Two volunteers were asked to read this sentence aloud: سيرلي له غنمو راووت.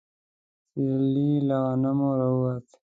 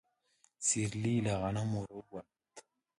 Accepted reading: second